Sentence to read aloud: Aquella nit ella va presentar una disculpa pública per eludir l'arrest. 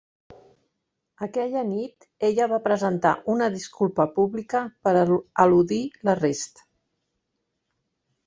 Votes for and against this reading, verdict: 0, 2, rejected